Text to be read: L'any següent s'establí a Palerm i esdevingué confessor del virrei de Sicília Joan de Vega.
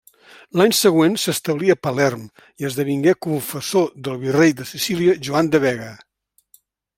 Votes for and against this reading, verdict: 2, 0, accepted